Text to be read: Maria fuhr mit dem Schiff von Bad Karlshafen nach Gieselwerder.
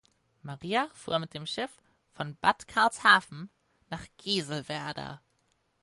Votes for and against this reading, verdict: 4, 0, accepted